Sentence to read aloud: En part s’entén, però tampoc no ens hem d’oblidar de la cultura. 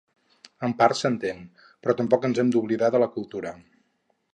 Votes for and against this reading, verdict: 2, 4, rejected